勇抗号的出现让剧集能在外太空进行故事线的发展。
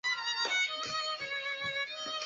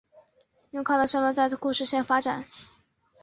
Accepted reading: first